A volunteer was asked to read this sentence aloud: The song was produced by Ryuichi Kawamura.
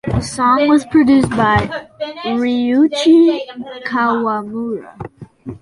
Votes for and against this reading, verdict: 2, 0, accepted